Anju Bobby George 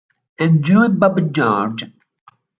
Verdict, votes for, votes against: rejected, 1, 2